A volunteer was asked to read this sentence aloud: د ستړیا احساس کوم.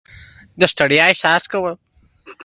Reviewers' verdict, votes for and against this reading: accepted, 2, 0